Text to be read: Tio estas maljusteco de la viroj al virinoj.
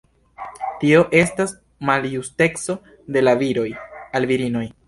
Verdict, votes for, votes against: accepted, 2, 0